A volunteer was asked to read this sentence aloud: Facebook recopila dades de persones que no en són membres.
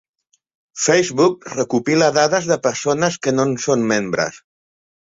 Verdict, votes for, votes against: accepted, 2, 0